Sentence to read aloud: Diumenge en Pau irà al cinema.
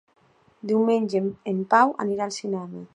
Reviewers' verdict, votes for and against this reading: rejected, 0, 2